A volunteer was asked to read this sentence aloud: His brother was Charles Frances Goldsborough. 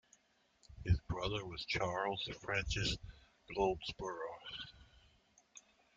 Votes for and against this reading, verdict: 2, 0, accepted